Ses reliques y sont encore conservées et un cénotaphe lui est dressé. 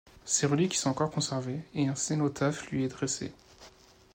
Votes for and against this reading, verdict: 1, 2, rejected